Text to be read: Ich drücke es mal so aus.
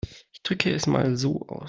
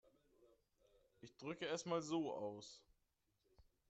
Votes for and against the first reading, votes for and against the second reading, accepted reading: 2, 0, 2, 3, first